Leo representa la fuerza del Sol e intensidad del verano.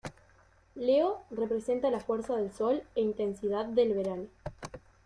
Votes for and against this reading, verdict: 2, 0, accepted